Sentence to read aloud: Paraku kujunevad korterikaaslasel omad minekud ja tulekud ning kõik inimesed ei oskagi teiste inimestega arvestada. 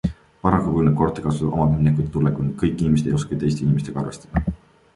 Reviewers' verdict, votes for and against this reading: rejected, 1, 2